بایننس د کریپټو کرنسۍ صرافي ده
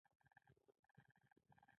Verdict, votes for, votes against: rejected, 1, 2